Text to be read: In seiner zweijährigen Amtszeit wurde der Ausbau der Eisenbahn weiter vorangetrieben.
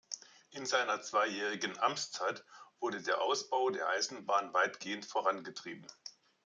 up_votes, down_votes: 0, 2